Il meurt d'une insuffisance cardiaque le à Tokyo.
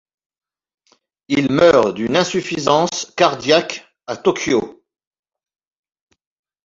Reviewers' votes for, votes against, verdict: 0, 2, rejected